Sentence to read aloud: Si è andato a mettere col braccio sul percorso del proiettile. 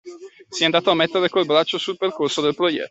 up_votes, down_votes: 0, 2